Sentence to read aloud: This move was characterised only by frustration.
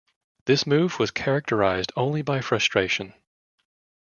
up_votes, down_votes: 2, 0